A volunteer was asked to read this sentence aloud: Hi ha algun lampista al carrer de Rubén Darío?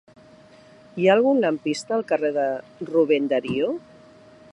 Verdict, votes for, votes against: accepted, 2, 0